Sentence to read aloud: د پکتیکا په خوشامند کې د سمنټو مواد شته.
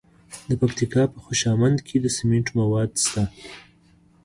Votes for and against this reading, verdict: 2, 0, accepted